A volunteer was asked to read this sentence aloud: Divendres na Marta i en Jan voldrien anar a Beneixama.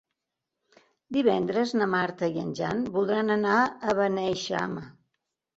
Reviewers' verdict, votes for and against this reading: rejected, 0, 2